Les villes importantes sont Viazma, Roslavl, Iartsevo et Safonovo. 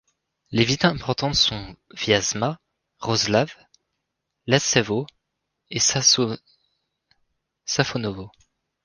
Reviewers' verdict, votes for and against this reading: rejected, 0, 2